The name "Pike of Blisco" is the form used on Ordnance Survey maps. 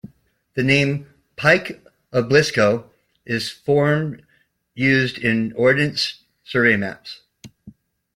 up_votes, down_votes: 0, 2